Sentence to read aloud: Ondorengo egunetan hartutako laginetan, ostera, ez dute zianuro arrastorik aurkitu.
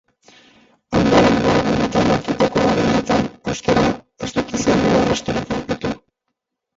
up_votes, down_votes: 0, 4